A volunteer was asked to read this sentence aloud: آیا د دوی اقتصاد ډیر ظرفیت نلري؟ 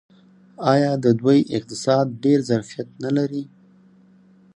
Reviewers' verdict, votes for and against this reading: accepted, 4, 0